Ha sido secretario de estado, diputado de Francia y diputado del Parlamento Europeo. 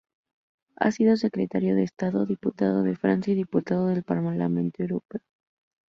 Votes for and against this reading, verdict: 4, 0, accepted